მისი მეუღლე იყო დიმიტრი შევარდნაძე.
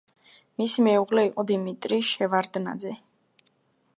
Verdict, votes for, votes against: accepted, 2, 0